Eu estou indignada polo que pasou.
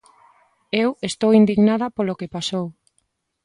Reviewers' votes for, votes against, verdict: 2, 0, accepted